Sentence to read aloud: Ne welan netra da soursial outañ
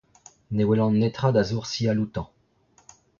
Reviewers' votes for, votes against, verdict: 0, 2, rejected